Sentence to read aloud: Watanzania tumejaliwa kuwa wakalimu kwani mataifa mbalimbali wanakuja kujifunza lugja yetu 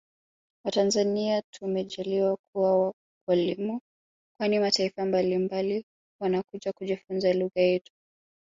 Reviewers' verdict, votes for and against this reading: accepted, 2, 1